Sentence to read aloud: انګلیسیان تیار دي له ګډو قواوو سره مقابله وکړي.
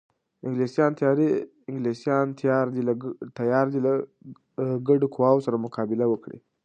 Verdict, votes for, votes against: accepted, 2, 0